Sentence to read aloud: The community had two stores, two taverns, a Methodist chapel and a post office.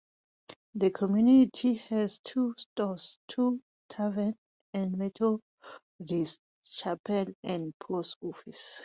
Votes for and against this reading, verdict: 2, 0, accepted